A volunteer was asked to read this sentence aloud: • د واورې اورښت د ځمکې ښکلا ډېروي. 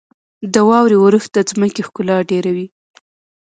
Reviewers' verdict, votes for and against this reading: accepted, 2, 0